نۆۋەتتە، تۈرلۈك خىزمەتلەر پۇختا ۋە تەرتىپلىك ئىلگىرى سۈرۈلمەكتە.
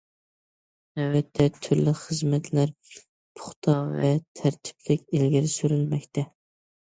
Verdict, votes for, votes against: accepted, 2, 0